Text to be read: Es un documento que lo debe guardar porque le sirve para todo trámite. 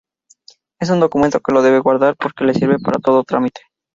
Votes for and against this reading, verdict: 4, 0, accepted